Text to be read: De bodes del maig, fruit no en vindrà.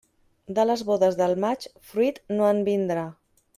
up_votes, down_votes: 0, 2